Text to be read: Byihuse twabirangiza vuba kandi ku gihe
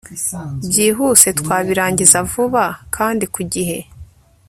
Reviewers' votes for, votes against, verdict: 2, 0, accepted